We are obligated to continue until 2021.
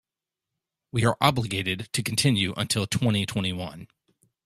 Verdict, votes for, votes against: rejected, 0, 2